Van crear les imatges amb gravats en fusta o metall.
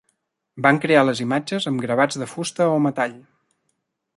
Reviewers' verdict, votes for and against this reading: rejected, 0, 2